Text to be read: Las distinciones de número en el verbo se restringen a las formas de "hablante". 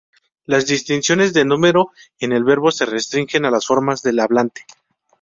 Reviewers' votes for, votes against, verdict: 0, 2, rejected